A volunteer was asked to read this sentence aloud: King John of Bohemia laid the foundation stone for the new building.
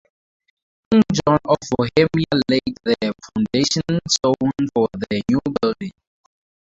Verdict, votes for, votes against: rejected, 2, 2